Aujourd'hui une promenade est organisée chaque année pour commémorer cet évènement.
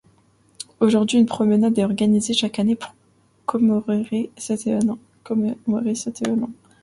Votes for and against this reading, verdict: 0, 2, rejected